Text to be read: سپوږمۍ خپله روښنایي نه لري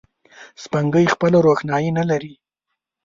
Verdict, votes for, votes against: rejected, 1, 2